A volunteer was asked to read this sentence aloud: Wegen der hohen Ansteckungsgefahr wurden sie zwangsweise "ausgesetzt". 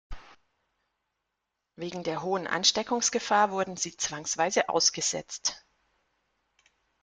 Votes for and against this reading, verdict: 2, 0, accepted